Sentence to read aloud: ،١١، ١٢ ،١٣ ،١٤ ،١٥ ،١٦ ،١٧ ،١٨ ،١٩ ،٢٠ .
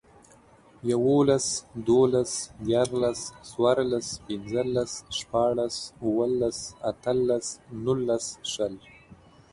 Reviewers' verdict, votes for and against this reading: rejected, 0, 2